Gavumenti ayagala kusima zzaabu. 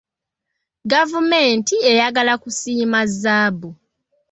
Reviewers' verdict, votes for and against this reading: accepted, 2, 0